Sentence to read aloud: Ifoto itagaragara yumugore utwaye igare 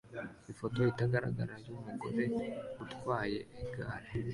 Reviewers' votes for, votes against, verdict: 2, 0, accepted